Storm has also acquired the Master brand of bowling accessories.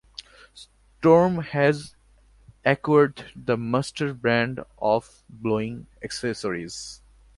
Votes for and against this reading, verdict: 0, 2, rejected